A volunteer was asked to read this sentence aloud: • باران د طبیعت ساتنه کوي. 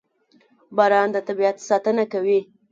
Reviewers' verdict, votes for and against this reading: accepted, 2, 0